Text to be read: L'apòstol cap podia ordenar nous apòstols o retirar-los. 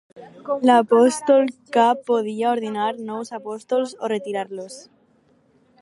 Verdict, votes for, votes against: accepted, 4, 2